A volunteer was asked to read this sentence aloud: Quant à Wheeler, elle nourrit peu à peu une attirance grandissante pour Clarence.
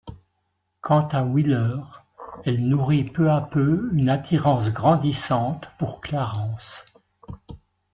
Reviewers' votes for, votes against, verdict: 2, 0, accepted